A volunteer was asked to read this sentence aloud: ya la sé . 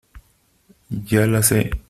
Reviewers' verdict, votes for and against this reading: accepted, 3, 0